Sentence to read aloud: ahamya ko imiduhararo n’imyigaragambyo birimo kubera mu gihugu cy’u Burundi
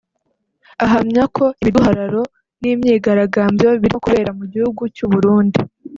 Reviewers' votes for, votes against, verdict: 1, 2, rejected